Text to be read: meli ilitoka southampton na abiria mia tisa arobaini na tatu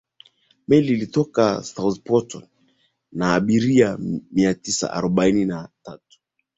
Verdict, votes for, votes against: rejected, 0, 2